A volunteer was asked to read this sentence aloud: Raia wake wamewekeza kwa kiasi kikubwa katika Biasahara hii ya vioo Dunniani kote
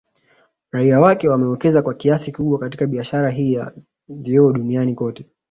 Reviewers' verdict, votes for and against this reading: accepted, 3, 0